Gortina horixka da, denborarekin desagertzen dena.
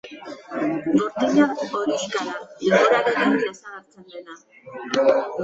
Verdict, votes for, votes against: accepted, 2, 0